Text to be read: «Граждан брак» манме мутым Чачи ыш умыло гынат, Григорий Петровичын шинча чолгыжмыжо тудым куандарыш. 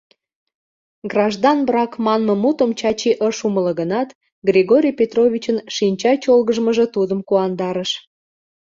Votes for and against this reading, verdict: 2, 0, accepted